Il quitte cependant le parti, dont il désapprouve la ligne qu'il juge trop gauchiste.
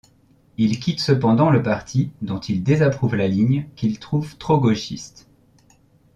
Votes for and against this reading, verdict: 1, 2, rejected